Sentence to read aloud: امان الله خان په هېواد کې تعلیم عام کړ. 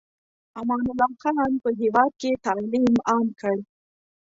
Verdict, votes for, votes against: rejected, 1, 2